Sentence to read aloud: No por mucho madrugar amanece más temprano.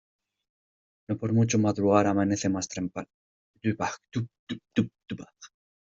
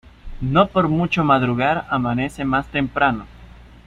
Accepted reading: second